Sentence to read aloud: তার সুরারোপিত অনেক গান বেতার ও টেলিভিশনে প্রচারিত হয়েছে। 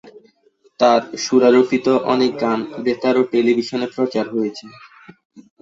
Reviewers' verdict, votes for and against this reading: rejected, 0, 2